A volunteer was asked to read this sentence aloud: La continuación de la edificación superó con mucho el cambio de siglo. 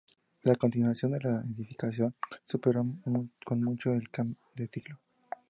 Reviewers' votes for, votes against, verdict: 0, 2, rejected